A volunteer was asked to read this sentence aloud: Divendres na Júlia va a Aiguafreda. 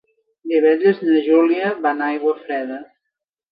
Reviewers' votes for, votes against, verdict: 0, 2, rejected